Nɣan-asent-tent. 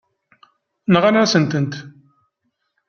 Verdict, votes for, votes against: accepted, 2, 0